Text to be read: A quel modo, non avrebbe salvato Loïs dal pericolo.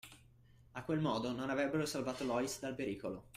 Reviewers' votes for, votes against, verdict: 0, 2, rejected